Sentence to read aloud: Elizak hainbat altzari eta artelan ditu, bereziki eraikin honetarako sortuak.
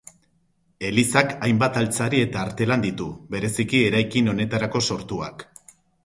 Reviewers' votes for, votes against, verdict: 4, 0, accepted